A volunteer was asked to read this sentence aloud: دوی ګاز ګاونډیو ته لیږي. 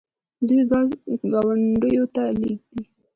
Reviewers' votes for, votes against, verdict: 1, 2, rejected